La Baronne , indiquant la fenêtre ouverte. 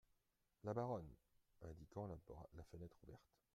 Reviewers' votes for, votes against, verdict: 0, 2, rejected